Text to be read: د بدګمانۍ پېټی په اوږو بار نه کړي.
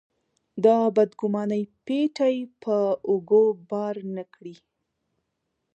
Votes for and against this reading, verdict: 3, 1, accepted